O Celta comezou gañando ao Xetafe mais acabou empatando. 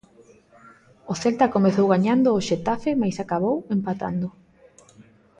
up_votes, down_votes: 2, 0